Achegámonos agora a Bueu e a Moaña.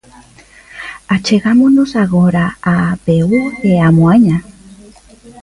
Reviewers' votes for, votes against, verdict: 0, 2, rejected